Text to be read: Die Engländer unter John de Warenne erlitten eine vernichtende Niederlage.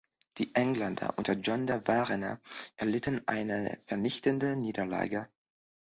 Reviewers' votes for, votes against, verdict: 2, 0, accepted